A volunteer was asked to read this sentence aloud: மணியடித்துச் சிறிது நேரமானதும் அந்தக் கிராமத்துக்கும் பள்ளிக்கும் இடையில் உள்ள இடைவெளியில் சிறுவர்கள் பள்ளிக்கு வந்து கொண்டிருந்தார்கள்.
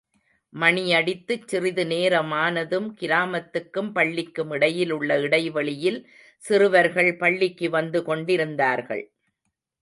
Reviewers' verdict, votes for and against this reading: rejected, 1, 2